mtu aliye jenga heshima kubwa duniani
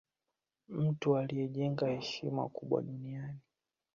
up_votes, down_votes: 2, 0